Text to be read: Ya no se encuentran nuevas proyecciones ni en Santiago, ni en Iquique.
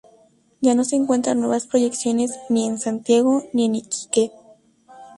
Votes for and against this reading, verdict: 2, 0, accepted